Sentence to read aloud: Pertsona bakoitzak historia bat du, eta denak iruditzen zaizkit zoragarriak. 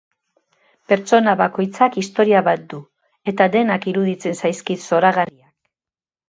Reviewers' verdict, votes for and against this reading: rejected, 0, 2